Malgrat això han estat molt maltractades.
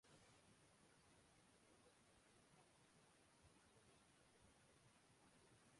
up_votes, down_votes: 0, 2